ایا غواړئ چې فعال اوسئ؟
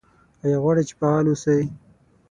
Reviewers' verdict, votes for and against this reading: accepted, 9, 0